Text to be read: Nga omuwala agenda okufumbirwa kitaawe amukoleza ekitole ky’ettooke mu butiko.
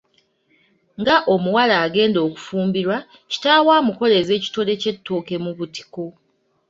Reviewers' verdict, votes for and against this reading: rejected, 1, 2